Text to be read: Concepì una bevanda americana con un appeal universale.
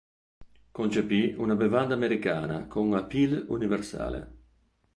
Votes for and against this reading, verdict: 1, 2, rejected